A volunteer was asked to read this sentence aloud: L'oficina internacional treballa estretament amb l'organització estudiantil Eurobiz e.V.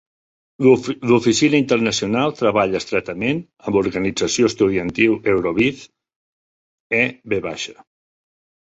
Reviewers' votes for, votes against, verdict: 0, 3, rejected